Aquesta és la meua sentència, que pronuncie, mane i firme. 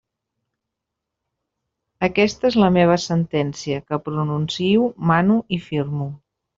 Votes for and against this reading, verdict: 1, 2, rejected